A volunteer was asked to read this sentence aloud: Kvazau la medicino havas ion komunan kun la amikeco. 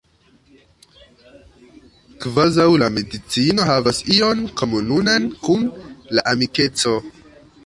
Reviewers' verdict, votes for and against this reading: rejected, 1, 2